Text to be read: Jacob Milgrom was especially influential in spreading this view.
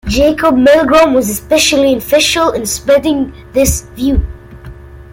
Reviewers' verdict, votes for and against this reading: rejected, 1, 2